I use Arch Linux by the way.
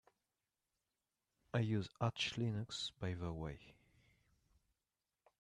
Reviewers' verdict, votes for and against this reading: accepted, 2, 0